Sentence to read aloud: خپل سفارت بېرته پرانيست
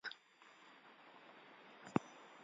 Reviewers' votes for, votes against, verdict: 1, 2, rejected